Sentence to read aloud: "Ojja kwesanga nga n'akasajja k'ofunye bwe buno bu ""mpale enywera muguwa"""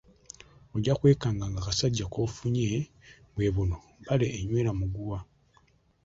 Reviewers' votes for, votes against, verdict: 2, 1, accepted